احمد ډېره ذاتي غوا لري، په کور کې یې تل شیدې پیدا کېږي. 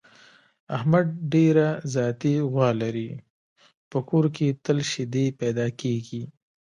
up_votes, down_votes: 1, 2